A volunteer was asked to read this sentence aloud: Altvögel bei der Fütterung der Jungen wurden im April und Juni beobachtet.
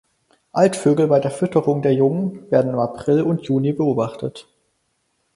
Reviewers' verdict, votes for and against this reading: rejected, 2, 4